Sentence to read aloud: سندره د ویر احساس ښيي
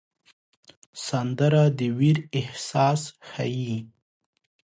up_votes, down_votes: 2, 0